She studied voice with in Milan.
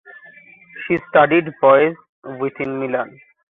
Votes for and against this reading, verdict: 2, 1, accepted